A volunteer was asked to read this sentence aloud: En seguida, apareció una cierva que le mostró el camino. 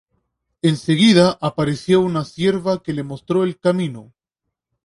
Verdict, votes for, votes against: accepted, 2, 0